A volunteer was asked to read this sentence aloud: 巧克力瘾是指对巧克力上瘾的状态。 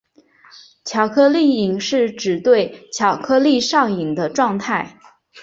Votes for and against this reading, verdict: 2, 0, accepted